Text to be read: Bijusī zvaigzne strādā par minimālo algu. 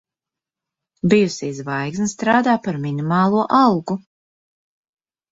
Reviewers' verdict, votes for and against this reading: accepted, 2, 0